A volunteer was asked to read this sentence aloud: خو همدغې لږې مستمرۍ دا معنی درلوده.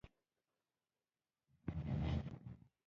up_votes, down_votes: 1, 2